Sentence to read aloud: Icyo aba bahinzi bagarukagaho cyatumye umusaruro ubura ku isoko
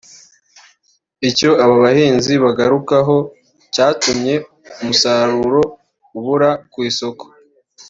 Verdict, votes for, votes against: accepted, 3, 0